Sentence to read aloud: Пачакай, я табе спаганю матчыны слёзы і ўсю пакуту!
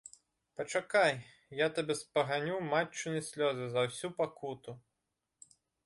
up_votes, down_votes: 0, 2